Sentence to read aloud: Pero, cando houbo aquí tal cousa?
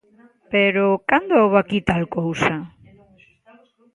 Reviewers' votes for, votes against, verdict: 2, 0, accepted